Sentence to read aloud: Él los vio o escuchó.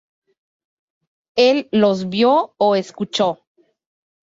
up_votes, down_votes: 4, 0